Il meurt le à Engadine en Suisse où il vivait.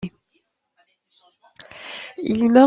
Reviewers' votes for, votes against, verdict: 0, 2, rejected